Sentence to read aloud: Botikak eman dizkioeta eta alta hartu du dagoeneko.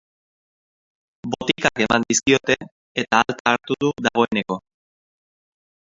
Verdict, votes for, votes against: rejected, 0, 2